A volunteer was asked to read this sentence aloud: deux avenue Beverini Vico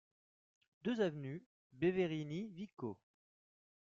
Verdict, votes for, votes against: rejected, 0, 2